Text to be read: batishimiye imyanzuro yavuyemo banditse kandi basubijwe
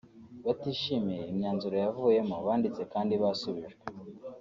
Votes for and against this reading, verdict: 2, 1, accepted